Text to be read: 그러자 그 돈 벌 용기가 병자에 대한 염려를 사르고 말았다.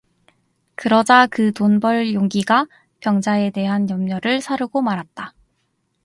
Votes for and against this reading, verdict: 2, 0, accepted